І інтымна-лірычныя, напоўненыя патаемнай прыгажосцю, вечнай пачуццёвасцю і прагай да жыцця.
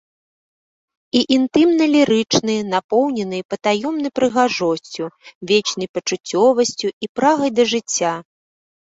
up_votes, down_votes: 0, 2